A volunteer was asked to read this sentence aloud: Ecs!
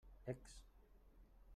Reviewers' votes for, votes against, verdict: 0, 2, rejected